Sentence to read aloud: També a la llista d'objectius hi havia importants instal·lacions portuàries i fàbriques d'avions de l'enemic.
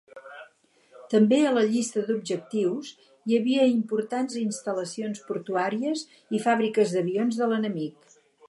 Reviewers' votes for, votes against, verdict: 6, 0, accepted